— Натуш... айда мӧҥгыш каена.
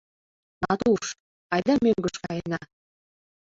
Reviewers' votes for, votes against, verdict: 2, 0, accepted